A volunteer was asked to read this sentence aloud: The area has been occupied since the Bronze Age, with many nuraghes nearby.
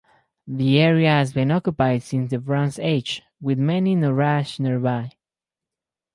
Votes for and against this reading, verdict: 2, 2, rejected